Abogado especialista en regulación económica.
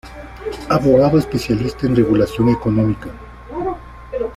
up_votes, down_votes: 1, 2